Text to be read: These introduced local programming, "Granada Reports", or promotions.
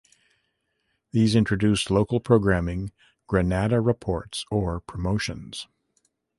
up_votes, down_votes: 2, 0